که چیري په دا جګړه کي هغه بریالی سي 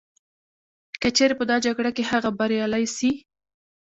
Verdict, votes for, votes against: rejected, 0, 2